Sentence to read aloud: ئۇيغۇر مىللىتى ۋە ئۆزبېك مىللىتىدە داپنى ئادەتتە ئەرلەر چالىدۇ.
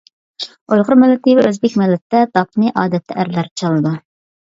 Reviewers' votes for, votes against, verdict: 1, 2, rejected